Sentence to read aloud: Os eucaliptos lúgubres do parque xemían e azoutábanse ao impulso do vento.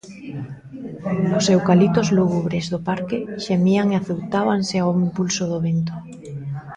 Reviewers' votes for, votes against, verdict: 0, 2, rejected